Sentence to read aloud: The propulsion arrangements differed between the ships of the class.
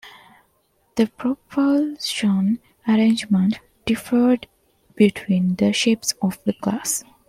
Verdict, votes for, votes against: rejected, 0, 3